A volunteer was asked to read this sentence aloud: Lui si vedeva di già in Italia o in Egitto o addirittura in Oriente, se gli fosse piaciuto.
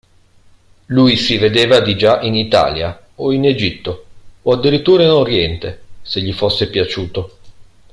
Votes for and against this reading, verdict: 2, 0, accepted